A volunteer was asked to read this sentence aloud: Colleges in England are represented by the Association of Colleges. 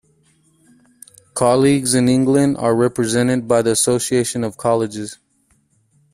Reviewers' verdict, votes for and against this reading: rejected, 1, 2